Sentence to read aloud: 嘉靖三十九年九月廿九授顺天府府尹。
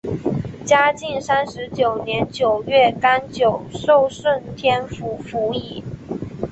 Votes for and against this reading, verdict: 3, 0, accepted